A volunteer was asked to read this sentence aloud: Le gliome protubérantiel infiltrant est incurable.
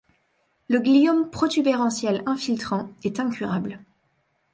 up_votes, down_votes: 2, 0